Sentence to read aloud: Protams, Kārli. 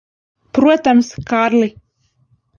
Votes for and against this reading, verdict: 0, 2, rejected